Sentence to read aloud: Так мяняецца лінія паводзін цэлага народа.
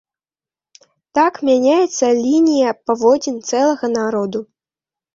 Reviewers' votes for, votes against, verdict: 2, 1, accepted